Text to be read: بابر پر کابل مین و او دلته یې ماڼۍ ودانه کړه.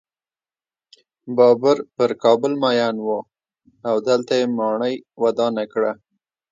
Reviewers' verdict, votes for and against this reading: accepted, 2, 1